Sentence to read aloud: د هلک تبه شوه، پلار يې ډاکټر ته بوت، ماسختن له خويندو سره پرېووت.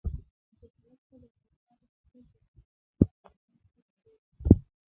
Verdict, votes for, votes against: rejected, 1, 2